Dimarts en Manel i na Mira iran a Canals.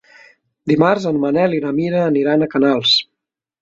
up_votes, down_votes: 0, 2